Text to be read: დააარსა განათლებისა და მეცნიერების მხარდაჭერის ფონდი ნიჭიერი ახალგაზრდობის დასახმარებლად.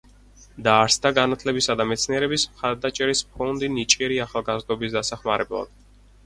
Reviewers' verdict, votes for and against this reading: rejected, 0, 4